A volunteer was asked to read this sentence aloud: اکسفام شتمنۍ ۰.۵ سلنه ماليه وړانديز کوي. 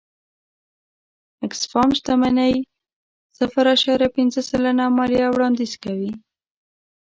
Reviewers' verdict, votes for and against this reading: rejected, 0, 2